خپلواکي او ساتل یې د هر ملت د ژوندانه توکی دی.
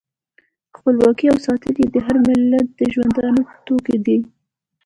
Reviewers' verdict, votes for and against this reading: accepted, 2, 1